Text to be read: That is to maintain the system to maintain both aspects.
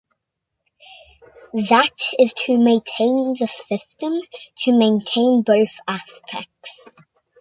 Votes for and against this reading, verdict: 2, 0, accepted